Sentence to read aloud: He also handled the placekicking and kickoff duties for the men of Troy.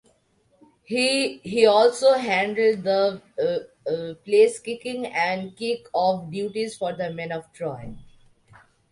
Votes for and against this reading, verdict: 1, 2, rejected